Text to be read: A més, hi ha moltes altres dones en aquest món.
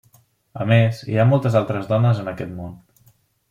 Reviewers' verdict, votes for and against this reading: accepted, 3, 0